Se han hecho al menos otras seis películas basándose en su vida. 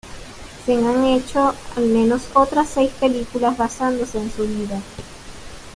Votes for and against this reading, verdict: 2, 0, accepted